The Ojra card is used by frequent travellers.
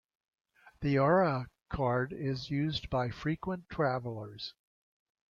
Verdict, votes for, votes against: rejected, 1, 3